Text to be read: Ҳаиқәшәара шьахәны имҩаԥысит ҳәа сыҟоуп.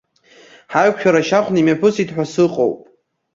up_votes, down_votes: 2, 0